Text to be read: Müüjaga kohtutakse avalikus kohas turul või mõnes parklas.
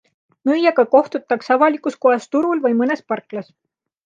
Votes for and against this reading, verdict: 2, 0, accepted